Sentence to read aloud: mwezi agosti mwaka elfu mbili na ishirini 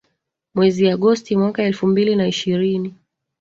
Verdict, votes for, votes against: rejected, 1, 2